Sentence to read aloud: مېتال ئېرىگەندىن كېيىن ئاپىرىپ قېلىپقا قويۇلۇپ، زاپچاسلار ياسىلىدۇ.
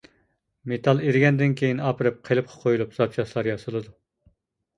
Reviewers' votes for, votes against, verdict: 2, 0, accepted